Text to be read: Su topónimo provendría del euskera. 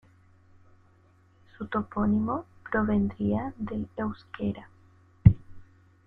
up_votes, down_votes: 1, 2